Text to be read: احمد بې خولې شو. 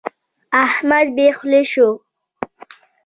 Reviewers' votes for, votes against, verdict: 1, 2, rejected